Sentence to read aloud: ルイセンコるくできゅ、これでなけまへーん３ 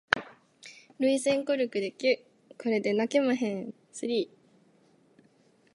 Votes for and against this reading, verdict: 0, 2, rejected